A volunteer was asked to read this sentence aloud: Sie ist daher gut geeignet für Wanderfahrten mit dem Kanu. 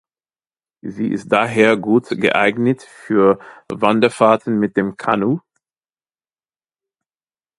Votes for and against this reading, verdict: 2, 0, accepted